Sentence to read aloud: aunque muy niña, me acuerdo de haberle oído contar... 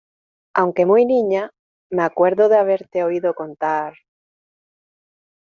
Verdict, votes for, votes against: rejected, 0, 2